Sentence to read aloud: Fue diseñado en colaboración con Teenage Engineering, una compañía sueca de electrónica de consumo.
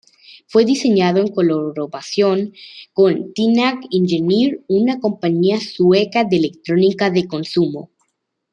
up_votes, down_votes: 1, 2